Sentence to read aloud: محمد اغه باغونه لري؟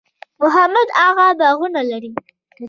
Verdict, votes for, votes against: rejected, 0, 2